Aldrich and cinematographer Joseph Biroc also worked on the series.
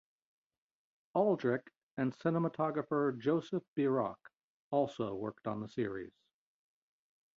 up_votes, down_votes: 2, 0